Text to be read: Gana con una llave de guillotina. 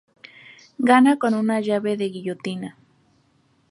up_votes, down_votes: 2, 0